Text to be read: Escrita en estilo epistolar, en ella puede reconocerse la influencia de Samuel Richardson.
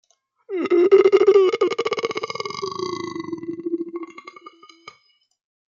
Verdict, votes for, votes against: rejected, 0, 2